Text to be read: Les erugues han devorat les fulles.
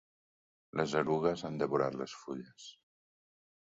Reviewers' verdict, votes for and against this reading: accepted, 2, 0